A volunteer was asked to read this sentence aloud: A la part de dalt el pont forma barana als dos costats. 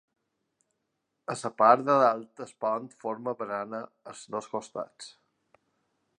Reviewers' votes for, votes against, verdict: 0, 2, rejected